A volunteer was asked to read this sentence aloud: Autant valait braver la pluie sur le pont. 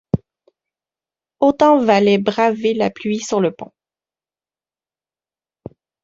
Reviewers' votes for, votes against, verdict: 2, 0, accepted